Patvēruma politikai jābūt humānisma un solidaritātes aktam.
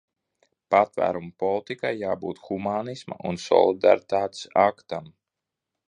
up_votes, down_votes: 2, 0